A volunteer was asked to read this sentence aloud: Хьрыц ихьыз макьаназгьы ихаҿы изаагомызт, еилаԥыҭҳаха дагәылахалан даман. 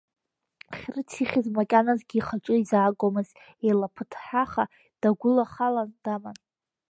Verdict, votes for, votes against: rejected, 1, 2